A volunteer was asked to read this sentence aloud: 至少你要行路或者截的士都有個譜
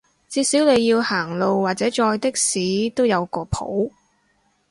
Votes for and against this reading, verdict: 0, 4, rejected